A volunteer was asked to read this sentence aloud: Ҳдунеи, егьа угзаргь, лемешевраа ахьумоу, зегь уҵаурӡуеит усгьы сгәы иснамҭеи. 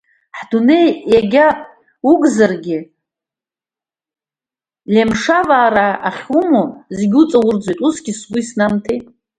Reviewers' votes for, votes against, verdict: 2, 0, accepted